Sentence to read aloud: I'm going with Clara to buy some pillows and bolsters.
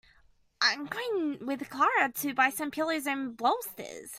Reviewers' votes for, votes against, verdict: 2, 1, accepted